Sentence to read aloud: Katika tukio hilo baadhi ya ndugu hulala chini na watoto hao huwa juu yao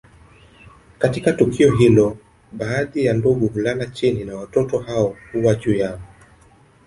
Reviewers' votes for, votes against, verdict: 2, 0, accepted